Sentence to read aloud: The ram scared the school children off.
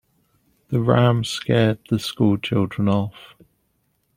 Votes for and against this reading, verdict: 2, 0, accepted